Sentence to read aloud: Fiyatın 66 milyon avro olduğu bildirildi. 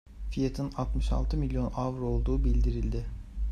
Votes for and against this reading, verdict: 0, 2, rejected